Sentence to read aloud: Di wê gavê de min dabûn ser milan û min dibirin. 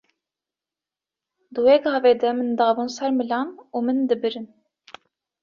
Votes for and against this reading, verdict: 2, 0, accepted